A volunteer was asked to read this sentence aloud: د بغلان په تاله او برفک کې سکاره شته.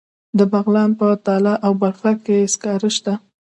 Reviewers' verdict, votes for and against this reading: rejected, 1, 2